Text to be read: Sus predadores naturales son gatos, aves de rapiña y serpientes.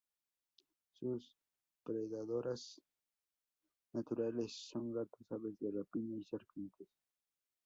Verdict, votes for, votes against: accepted, 2, 0